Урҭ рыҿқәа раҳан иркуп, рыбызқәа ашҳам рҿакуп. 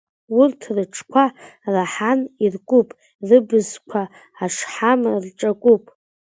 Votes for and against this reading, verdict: 1, 2, rejected